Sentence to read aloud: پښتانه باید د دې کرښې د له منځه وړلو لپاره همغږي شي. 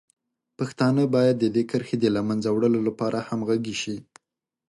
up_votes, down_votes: 2, 1